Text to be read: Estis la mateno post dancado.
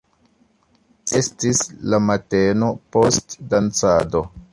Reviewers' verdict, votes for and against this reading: accepted, 2, 0